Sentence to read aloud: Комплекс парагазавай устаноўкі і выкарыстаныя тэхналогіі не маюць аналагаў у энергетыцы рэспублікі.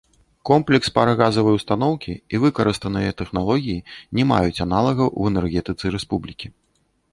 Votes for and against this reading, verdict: 2, 0, accepted